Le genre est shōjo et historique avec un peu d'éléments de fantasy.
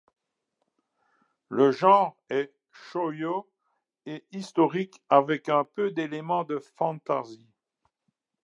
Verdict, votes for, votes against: rejected, 1, 2